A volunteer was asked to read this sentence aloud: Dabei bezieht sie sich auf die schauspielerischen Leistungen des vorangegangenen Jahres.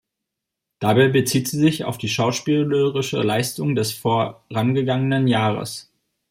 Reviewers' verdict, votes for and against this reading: rejected, 0, 2